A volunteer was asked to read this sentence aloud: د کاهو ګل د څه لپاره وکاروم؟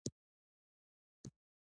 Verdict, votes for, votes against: accepted, 2, 0